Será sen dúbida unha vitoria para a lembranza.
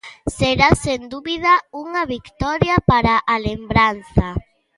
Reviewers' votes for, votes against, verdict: 1, 2, rejected